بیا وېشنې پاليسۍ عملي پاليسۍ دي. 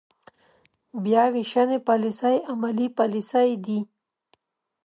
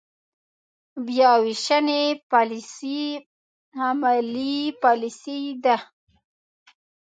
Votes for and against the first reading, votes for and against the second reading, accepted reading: 2, 0, 0, 2, first